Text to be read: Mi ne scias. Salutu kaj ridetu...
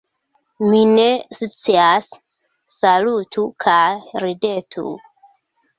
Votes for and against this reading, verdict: 1, 2, rejected